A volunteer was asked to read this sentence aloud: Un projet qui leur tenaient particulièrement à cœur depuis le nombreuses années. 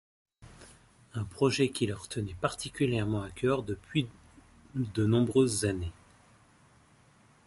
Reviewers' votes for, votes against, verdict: 1, 2, rejected